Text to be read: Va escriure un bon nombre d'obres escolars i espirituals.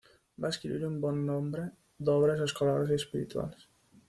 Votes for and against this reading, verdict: 2, 1, accepted